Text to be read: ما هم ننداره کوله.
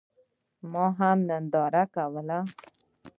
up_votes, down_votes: 2, 0